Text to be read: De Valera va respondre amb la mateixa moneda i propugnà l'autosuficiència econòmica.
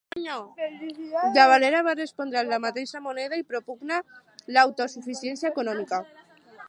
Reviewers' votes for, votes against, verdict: 0, 6, rejected